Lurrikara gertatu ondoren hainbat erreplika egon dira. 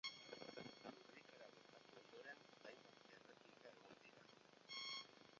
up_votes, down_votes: 0, 2